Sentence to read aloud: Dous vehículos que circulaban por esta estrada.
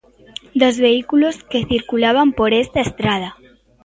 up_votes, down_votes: 1, 2